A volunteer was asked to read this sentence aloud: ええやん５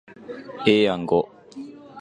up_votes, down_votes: 0, 2